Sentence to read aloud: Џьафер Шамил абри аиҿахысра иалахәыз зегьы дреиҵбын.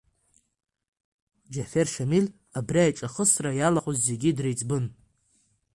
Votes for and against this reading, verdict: 2, 1, accepted